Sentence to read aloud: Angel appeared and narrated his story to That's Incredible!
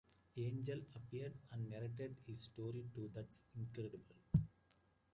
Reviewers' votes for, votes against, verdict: 2, 1, accepted